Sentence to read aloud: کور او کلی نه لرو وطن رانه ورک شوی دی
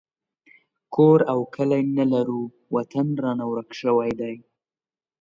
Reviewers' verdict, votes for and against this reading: accepted, 2, 0